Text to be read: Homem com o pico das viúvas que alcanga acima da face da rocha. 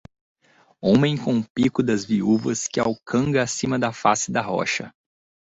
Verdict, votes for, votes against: accepted, 2, 0